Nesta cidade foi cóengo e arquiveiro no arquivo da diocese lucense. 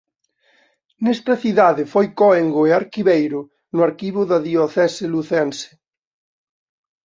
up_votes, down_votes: 2, 0